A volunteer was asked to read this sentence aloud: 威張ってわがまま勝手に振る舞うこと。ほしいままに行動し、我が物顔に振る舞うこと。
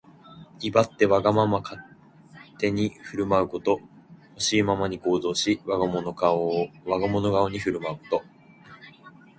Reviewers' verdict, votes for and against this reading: accepted, 2, 0